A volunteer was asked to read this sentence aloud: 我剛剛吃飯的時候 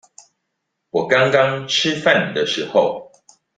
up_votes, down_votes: 2, 0